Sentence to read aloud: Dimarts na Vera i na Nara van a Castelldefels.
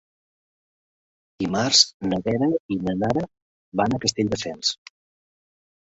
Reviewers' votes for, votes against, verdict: 2, 0, accepted